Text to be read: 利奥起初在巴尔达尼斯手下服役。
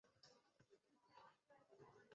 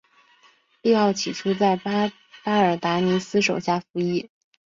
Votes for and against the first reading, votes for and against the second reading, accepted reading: 0, 2, 2, 0, second